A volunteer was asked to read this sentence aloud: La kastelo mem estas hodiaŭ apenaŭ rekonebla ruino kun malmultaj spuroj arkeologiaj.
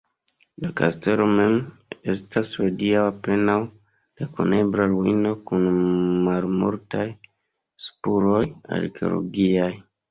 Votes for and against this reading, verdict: 2, 0, accepted